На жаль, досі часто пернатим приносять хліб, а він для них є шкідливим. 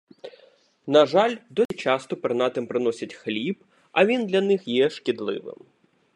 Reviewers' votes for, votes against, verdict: 1, 2, rejected